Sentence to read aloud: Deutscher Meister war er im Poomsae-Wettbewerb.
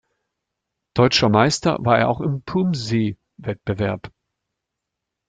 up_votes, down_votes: 0, 2